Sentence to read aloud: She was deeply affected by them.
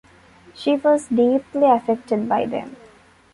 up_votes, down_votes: 2, 0